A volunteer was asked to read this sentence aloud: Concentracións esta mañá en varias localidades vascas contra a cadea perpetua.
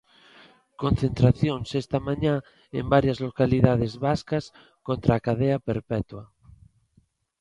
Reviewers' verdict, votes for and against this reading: accepted, 2, 0